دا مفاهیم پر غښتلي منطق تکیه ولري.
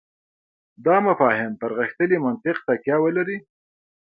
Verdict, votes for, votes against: rejected, 1, 2